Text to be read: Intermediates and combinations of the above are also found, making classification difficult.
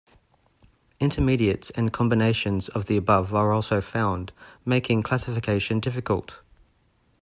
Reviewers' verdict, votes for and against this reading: accepted, 2, 0